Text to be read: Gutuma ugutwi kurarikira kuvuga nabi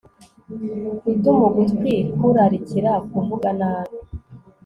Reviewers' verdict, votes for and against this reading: accepted, 4, 0